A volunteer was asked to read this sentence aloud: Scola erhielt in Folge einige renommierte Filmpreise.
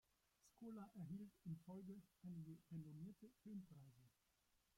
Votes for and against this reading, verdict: 0, 2, rejected